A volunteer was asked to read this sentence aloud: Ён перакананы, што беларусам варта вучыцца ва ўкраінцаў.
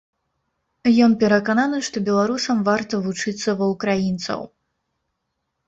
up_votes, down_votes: 2, 0